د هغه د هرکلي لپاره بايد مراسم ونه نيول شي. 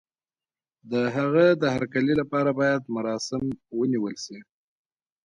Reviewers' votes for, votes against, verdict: 0, 2, rejected